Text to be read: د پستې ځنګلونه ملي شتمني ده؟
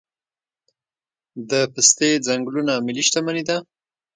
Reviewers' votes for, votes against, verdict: 2, 0, accepted